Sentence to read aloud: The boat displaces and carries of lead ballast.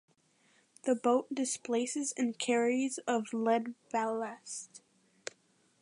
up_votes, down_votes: 2, 1